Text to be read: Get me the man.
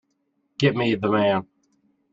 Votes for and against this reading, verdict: 2, 0, accepted